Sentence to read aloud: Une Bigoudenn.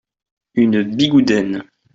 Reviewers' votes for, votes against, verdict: 2, 0, accepted